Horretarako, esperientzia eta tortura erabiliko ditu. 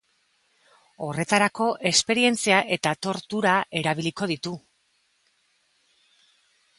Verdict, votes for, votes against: accepted, 2, 0